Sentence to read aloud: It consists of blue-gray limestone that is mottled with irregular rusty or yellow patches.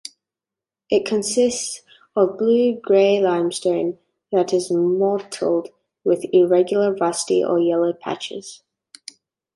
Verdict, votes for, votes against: accepted, 2, 0